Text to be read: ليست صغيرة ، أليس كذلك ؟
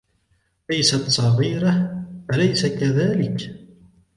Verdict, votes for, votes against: accepted, 2, 1